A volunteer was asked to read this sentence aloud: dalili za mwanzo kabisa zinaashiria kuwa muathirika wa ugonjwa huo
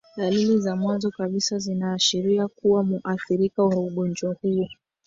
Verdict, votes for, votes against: rejected, 1, 2